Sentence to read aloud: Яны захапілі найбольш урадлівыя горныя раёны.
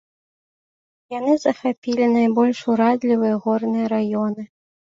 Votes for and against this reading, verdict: 1, 2, rejected